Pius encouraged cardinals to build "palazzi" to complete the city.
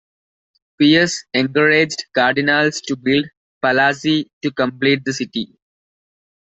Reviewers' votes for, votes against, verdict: 2, 1, accepted